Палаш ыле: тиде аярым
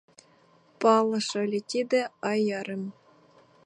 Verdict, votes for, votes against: rejected, 0, 2